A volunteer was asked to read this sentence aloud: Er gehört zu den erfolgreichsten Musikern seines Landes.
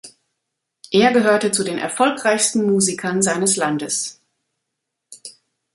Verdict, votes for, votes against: rejected, 0, 2